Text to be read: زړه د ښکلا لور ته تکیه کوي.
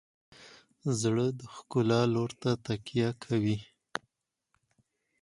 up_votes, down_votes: 4, 0